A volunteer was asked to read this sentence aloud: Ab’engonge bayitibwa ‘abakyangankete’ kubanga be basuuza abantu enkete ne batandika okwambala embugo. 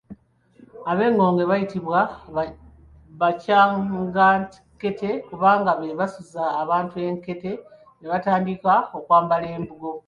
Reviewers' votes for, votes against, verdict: 2, 3, rejected